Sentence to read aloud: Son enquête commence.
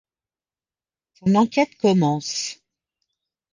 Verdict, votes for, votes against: rejected, 1, 2